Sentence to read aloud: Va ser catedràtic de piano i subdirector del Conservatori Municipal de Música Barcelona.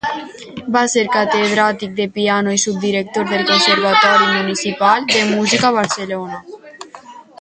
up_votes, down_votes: 0, 2